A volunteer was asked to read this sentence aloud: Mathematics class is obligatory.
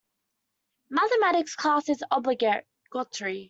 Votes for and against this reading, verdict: 0, 2, rejected